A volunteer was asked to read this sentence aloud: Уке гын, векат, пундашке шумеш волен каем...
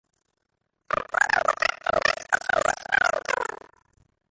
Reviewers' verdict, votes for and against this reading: rejected, 0, 2